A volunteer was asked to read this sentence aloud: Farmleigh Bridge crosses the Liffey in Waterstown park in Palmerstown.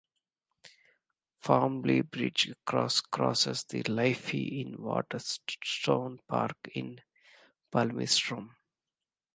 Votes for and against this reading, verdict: 0, 2, rejected